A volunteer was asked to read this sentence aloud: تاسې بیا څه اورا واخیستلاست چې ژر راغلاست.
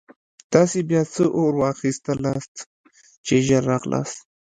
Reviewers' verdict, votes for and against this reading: accepted, 2, 0